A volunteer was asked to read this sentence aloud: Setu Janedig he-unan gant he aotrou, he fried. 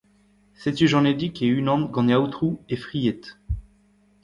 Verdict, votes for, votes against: rejected, 1, 2